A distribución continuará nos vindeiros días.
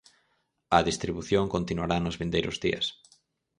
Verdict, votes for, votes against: accepted, 4, 0